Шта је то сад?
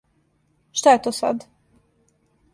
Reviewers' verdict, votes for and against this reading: accepted, 2, 0